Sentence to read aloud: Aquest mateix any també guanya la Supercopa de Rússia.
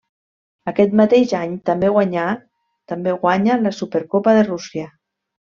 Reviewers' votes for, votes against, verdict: 0, 2, rejected